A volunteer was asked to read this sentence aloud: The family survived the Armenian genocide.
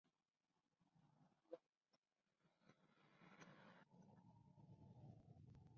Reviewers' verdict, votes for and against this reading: rejected, 0, 2